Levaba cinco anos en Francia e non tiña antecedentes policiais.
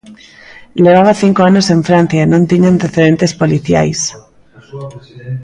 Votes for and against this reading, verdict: 1, 2, rejected